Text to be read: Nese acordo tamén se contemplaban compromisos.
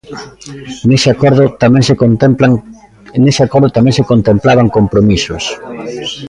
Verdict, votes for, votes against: rejected, 0, 2